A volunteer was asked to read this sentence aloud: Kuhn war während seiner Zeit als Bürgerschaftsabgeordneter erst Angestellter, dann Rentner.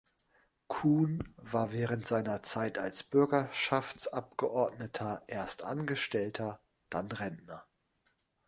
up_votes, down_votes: 3, 0